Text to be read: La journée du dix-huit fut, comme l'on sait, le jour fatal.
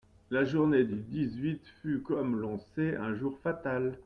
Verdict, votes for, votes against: rejected, 0, 2